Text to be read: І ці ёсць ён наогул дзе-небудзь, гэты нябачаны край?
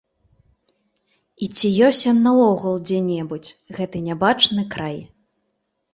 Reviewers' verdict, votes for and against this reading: accepted, 2, 1